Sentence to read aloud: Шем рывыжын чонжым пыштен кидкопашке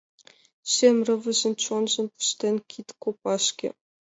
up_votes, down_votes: 2, 1